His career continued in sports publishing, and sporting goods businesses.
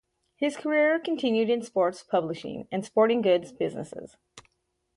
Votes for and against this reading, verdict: 4, 0, accepted